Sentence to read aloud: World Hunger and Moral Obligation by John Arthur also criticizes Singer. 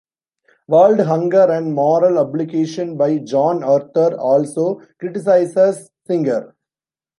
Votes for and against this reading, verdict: 2, 0, accepted